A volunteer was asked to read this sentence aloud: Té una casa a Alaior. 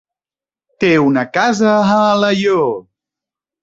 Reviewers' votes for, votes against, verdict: 3, 0, accepted